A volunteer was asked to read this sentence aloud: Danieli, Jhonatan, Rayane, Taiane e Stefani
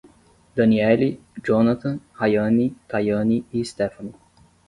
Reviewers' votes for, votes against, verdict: 10, 0, accepted